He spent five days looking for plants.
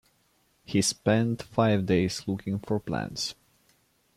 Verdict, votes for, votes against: accepted, 2, 0